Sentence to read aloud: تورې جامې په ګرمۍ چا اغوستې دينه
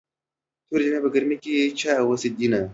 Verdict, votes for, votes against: accepted, 2, 0